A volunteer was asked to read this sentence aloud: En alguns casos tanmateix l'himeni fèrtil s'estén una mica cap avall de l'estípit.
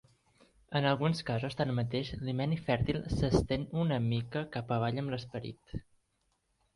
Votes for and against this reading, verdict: 0, 3, rejected